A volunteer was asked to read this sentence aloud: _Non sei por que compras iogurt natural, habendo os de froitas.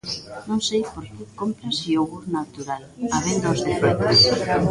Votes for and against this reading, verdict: 0, 2, rejected